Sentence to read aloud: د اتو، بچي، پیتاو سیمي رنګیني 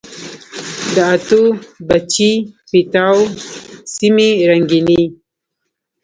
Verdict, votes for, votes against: rejected, 1, 2